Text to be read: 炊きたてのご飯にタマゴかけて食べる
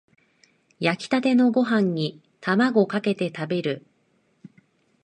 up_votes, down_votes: 2, 1